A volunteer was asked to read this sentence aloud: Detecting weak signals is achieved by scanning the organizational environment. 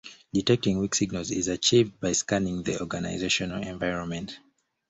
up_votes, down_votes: 2, 0